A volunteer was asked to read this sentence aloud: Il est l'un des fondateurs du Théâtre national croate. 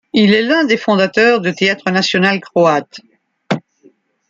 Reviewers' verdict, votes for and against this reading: rejected, 1, 2